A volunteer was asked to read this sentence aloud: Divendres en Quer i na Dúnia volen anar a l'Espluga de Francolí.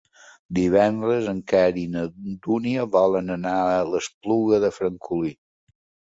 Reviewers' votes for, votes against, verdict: 0, 2, rejected